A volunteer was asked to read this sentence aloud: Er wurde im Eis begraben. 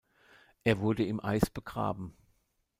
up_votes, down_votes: 1, 2